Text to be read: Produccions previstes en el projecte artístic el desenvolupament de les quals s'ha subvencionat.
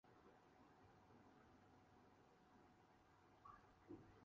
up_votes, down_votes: 0, 4